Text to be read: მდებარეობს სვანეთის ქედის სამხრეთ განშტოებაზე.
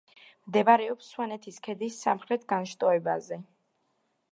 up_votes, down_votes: 2, 0